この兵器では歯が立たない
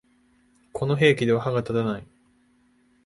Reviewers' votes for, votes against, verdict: 2, 0, accepted